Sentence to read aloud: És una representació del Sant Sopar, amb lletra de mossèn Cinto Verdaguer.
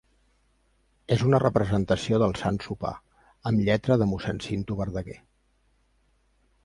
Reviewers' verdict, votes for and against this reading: accepted, 2, 0